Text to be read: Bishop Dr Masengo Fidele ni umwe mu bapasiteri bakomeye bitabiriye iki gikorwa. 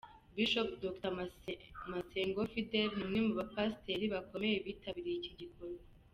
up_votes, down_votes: 0, 2